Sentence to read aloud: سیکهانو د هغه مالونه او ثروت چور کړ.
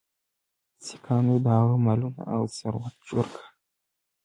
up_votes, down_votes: 2, 0